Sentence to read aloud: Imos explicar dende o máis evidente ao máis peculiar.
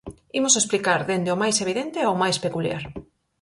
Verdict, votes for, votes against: accepted, 4, 2